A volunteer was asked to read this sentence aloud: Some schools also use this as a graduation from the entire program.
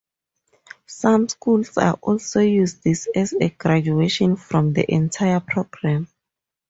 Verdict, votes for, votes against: accepted, 2, 0